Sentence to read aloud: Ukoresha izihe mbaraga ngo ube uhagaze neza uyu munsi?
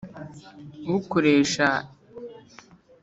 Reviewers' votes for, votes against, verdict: 0, 2, rejected